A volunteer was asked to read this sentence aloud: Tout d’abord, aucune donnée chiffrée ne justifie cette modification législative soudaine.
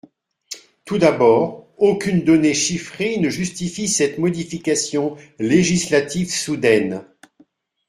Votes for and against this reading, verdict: 2, 0, accepted